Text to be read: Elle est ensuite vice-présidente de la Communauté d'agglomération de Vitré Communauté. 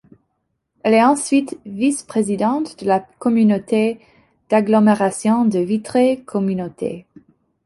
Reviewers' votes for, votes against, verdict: 2, 0, accepted